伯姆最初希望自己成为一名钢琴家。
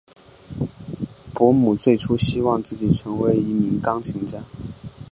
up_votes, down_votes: 3, 0